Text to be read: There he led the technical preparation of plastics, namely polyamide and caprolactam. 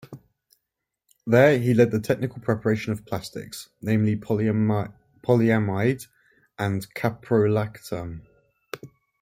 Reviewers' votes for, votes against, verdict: 2, 0, accepted